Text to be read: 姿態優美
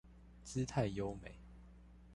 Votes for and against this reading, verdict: 1, 2, rejected